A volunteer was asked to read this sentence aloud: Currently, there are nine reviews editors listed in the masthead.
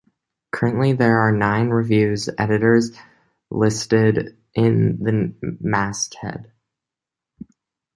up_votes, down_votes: 1, 2